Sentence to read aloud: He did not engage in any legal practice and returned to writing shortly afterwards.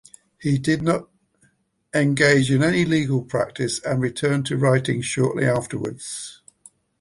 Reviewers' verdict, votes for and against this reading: accepted, 2, 0